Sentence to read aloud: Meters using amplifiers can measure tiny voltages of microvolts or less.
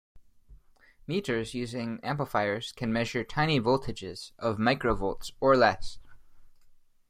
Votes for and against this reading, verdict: 1, 2, rejected